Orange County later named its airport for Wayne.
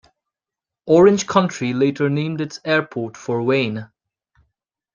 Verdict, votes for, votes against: rejected, 0, 2